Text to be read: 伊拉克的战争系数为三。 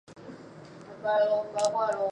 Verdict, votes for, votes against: rejected, 0, 3